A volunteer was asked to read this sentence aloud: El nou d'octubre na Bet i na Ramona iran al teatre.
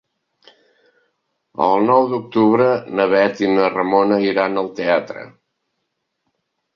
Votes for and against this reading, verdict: 2, 0, accepted